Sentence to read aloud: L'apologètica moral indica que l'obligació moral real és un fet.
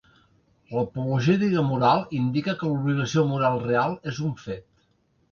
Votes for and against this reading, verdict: 1, 2, rejected